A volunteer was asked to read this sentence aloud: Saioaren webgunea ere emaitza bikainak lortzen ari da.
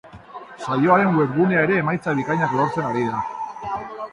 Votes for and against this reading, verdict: 4, 0, accepted